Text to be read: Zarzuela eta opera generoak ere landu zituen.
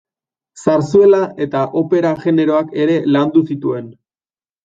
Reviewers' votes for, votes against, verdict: 2, 0, accepted